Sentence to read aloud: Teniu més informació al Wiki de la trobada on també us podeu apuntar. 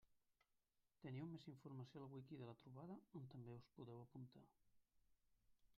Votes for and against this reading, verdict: 1, 2, rejected